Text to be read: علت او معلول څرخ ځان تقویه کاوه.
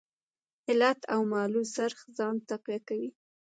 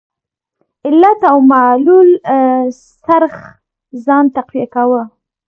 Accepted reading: second